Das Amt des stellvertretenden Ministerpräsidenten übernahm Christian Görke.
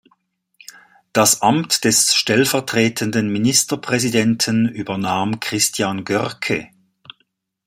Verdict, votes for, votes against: accepted, 2, 0